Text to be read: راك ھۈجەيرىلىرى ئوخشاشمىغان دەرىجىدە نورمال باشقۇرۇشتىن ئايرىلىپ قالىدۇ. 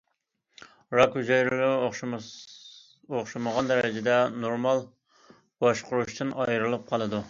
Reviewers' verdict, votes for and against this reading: rejected, 0, 2